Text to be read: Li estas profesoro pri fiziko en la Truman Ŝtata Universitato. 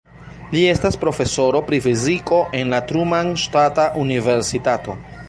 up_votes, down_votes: 2, 0